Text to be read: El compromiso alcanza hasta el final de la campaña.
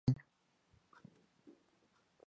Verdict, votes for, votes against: rejected, 0, 2